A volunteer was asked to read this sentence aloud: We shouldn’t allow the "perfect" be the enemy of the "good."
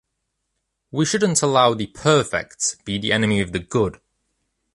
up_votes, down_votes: 2, 0